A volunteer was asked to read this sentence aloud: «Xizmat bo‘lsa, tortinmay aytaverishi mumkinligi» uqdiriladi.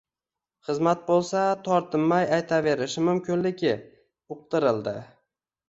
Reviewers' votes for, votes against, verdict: 1, 2, rejected